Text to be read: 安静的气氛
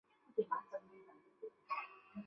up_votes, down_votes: 1, 2